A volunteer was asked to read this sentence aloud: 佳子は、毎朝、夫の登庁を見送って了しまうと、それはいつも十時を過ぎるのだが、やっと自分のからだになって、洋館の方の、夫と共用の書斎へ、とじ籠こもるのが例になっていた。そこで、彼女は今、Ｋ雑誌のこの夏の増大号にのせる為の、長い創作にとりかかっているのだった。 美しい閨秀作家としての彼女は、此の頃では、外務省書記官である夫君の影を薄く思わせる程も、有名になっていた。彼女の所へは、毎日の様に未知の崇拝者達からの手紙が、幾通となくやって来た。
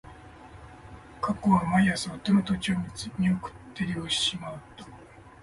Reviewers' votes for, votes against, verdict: 1, 2, rejected